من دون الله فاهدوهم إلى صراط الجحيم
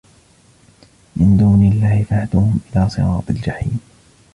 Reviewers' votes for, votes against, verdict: 2, 1, accepted